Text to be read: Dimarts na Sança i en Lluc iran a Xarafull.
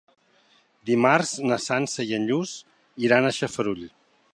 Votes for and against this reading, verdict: 0, 2, rejected